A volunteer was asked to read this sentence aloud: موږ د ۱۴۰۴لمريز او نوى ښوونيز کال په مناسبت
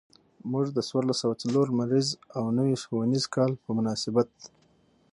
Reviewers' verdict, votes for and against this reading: rejected, 0, 2